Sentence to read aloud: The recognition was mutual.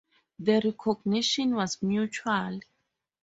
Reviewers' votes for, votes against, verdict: 2, 0, accepted